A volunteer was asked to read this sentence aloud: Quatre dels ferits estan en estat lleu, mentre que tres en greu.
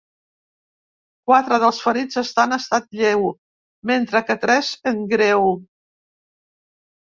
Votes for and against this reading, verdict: 2, 3, rejected